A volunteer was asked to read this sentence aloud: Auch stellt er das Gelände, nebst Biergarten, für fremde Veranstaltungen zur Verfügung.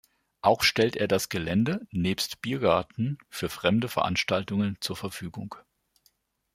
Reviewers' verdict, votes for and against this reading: accepted, 2, 0